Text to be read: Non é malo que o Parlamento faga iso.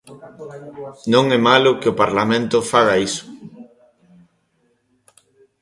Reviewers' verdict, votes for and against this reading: accepted, 2, 0